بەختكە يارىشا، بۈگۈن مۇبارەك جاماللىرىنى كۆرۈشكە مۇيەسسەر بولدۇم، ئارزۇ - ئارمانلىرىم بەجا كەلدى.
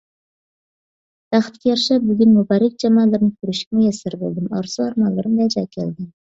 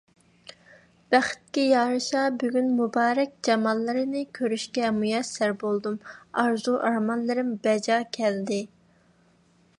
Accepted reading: second